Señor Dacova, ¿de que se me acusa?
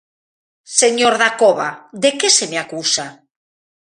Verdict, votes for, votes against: accepted, 2, 0